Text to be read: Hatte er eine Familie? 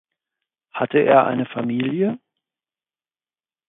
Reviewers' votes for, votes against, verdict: 4, 0, accepted